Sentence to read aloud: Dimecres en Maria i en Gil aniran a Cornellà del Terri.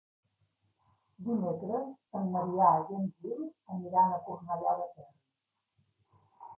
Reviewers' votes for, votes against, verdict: 0, 2, rejected